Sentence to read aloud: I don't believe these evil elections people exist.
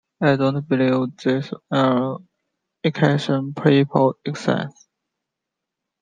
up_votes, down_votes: 1, 2